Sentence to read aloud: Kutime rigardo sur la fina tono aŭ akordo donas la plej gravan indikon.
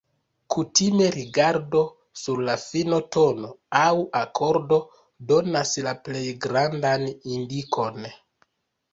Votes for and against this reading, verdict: 1, 2, rejected